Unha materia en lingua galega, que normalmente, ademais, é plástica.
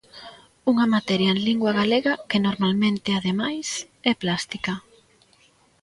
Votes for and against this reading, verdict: 2, 0, accepted